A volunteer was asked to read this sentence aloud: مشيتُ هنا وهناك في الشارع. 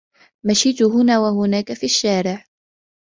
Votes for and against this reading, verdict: 2, 0, accepted